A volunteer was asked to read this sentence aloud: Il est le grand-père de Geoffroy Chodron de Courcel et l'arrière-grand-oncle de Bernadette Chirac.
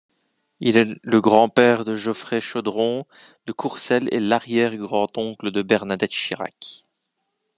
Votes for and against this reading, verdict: 2, 0, accepted